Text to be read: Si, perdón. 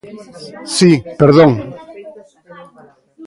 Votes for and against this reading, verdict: 0, 2, rejected